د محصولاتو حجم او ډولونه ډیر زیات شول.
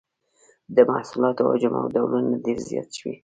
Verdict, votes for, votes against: accepted, 2, 0